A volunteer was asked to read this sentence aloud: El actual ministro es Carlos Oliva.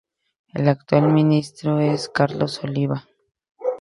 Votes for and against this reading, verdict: 2, 0, accepted